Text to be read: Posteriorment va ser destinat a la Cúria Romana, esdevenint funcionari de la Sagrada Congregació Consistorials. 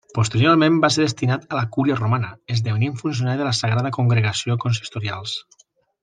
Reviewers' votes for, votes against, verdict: 1, 2, rejected